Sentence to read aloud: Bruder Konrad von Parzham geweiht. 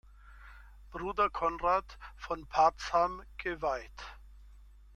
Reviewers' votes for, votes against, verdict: 2, 0, accepted